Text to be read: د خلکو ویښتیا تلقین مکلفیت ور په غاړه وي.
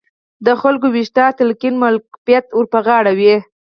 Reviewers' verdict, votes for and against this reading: rejected, 0, 4